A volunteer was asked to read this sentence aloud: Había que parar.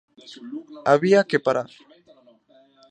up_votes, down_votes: 0, 2